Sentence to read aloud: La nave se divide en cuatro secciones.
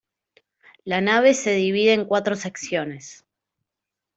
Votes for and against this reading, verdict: 2, 0, accepted